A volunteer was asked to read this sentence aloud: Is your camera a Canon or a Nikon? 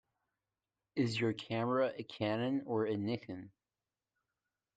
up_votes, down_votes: 2, 0